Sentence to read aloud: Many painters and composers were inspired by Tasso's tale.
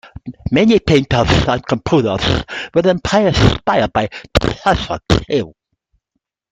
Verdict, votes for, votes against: rejected, 1, 2